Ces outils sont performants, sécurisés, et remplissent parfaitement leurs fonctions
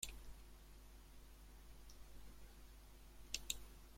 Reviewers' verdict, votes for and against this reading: rejected, 0, 2